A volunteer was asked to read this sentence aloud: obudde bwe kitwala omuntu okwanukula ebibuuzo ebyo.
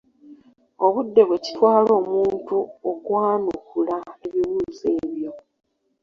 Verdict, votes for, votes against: rejected, 1, 2